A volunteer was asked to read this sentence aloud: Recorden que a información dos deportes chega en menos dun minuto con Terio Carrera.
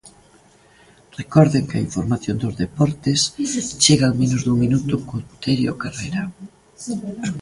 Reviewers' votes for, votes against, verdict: 1, 2, rejected